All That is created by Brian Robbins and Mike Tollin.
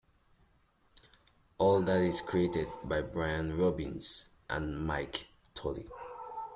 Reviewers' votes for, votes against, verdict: 2, 0, accepted